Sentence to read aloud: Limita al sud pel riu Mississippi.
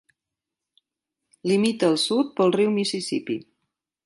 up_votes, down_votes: 2, 0